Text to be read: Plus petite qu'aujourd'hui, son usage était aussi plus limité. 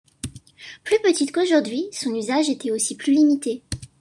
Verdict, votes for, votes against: accepted, 2, 0